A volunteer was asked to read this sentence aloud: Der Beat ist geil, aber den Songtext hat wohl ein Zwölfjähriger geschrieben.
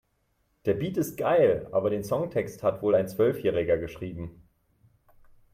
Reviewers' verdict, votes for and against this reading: accepted, 3, 0